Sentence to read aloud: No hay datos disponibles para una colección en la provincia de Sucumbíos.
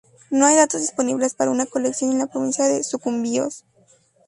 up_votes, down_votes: 2, 0